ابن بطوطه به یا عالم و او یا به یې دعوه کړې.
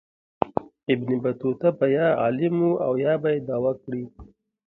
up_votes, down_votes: 2, 1